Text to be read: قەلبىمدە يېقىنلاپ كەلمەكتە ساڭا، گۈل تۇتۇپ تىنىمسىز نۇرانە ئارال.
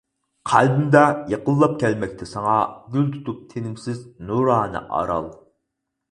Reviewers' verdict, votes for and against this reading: accepted, 4, 0